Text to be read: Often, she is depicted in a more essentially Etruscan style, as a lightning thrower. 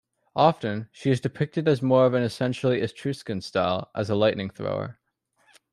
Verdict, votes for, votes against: rejected, 1, 2